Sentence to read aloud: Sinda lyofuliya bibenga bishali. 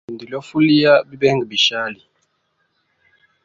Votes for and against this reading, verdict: 1, 2, rejected